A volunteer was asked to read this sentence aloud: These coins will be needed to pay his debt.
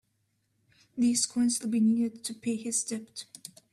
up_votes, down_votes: 1, 2